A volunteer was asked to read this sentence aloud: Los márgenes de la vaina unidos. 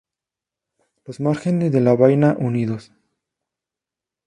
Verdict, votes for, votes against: accepted, 2, 0